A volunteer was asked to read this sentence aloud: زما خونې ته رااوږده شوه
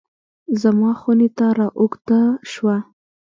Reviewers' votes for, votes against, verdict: 1, 2, rejected